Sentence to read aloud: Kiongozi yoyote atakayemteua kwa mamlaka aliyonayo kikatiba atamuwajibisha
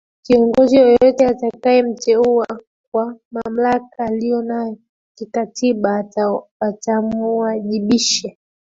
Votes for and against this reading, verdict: 3, 0, accepted